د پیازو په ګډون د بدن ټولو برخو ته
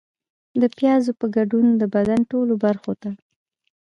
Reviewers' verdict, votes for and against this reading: accepted, 2, 0